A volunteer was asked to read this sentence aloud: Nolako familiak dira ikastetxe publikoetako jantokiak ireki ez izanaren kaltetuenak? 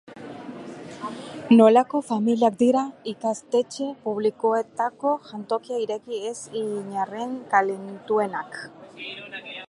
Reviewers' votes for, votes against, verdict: 0, 3, rejected